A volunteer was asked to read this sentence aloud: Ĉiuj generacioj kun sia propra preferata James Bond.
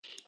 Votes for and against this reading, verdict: 0, 2, rejected